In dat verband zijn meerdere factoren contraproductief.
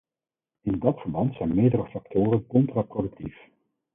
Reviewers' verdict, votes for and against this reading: accepted, 4, 2